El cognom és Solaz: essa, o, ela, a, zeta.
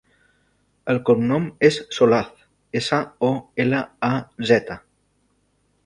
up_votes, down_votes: 3, 0